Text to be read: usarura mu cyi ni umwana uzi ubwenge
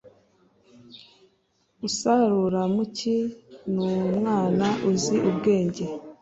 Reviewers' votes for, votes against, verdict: 2, 0, accepted